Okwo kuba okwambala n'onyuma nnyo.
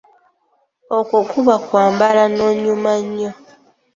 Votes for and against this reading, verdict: 2, 1, accepted